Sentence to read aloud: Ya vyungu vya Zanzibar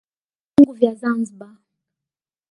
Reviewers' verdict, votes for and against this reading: rejected, 1, 2